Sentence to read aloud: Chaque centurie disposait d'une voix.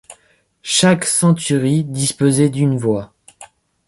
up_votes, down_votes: 2, 0